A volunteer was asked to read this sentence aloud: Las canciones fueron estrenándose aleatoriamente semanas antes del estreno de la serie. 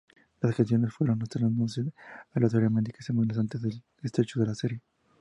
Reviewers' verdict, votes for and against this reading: rejected, 0, 2